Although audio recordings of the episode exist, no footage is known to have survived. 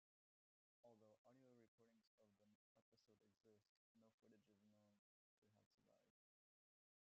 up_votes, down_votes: 0, 2